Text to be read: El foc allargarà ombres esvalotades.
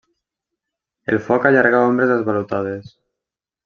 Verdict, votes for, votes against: rejected, 1, 2